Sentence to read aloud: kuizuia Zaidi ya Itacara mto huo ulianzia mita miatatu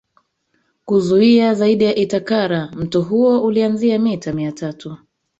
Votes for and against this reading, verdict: 1, 2, rejected